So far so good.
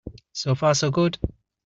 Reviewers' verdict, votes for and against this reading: accepted, 2, 0